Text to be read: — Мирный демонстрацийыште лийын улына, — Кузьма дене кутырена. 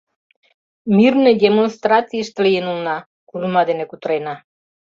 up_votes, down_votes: 0, 2